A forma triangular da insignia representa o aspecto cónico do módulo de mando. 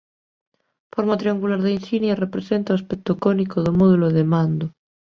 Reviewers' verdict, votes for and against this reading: rejected, 1, 2